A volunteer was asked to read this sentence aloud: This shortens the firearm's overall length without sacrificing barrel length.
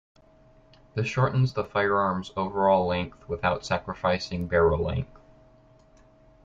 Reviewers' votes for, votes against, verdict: 2, 0, accepted